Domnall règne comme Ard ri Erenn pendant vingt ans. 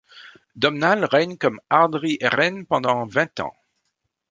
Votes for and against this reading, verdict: 2, 0, accepted